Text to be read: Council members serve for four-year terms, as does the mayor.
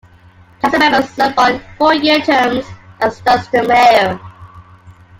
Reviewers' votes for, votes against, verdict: 0, 2, rejected